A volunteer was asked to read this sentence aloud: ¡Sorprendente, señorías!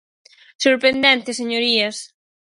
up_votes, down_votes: 4, 0